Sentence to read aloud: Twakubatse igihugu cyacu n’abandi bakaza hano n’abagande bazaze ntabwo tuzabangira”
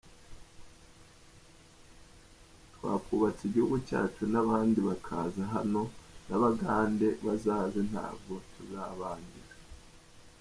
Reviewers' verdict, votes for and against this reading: rejected, 1, 2